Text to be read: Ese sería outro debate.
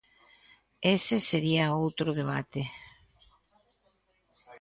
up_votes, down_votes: 2, 0